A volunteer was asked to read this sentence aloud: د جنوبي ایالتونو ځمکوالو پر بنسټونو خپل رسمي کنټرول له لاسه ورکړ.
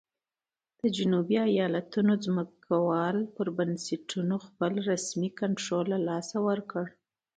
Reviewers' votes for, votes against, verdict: 2, 0, accepted